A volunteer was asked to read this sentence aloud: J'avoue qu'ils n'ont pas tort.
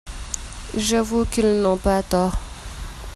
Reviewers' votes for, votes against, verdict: 1, 2, rejected